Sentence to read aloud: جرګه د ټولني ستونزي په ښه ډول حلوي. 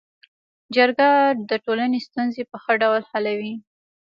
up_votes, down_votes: 1, 2